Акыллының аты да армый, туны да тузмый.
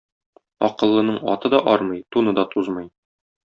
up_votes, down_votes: 2, 0